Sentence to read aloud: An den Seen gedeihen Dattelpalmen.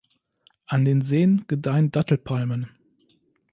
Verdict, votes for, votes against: accepted, 2, 0